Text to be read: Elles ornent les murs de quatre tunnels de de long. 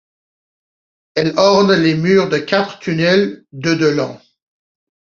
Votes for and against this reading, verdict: 2, 0, accepted